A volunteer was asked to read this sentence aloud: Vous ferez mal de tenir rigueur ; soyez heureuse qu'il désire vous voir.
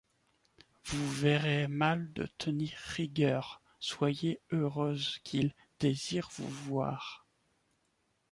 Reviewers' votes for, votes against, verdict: 2, 1, accepted